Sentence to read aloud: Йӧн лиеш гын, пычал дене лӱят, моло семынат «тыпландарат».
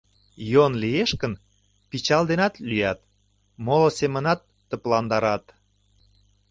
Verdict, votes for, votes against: rejected, 1, 2